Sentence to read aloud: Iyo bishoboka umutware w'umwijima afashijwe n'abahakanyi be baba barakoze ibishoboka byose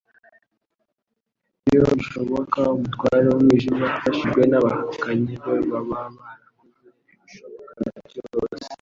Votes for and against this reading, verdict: 3, 0, accepted